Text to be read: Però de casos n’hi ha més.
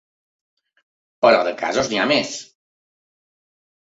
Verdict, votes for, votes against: accepted, 3, 0